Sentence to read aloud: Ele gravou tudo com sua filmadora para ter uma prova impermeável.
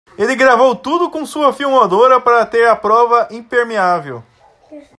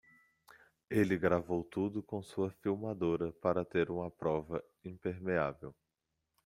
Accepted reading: second